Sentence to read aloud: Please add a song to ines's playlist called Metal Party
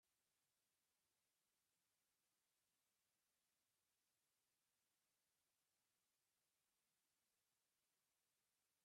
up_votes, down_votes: 0, 2